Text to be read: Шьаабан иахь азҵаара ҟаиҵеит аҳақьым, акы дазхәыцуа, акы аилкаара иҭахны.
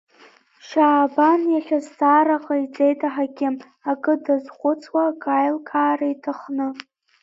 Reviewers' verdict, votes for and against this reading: rejected, 0, 2